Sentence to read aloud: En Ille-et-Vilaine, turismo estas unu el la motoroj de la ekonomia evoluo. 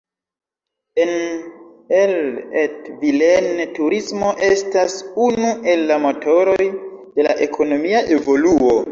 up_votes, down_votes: 1, 2